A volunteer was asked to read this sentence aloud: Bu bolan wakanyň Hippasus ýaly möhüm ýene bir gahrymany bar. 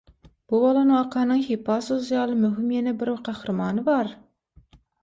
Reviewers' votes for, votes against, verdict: 6, 0, accepted